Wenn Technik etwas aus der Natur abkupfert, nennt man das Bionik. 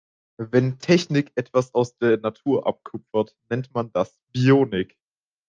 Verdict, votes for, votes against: accepted, 2, 0